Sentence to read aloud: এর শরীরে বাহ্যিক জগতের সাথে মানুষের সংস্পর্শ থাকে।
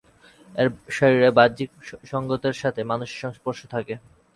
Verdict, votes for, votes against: rejected, 0, 4